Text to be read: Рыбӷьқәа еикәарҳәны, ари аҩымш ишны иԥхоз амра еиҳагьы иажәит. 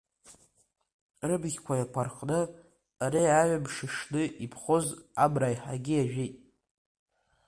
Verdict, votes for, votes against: accepted, 2, 0